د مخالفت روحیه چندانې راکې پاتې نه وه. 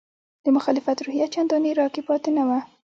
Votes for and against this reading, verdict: 2, 0, accepted